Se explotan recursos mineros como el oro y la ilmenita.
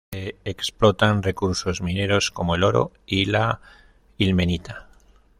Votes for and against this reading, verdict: 1, 2, rejected